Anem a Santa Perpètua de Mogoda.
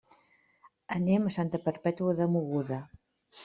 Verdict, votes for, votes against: rejected, 1, 2